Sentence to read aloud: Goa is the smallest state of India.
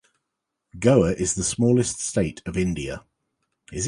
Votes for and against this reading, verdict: 2, 0, accepted